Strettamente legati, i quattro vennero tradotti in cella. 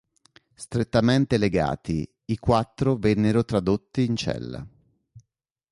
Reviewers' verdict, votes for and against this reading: accepted, 2, 0